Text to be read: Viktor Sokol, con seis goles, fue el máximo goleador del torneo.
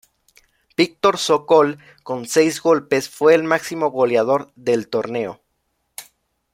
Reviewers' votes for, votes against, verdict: 0, 2, rejected